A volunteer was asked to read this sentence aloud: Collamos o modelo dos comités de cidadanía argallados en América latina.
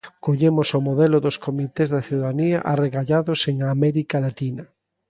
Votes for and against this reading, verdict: 0, 2, rejected